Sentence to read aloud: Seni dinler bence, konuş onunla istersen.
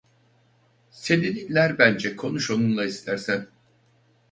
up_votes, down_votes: 2, 2